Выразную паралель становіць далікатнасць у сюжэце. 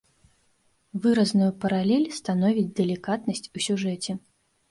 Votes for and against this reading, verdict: 0, 2, rejected